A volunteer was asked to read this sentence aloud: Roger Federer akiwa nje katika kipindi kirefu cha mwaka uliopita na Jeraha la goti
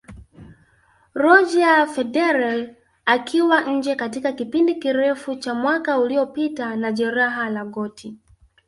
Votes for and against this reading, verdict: 3, 0, accepted